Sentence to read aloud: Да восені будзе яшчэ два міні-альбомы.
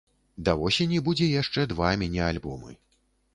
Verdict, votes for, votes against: accepted, 2, 0